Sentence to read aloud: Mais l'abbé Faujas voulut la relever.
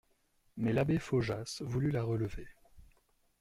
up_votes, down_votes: 2, 0